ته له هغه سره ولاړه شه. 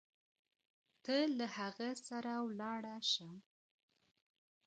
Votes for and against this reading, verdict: 1, 2, rejected